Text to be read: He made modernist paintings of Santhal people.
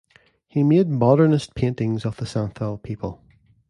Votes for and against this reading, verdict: 1, 2, rejected